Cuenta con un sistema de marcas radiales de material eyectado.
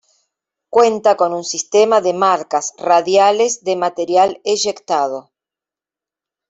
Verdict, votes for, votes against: accepted, 2, 0